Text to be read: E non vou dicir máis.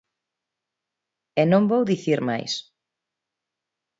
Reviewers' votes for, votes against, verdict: 2, 0, accepted